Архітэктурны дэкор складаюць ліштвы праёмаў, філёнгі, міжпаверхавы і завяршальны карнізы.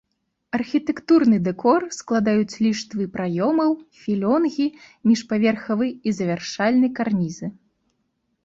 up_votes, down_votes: 1, 2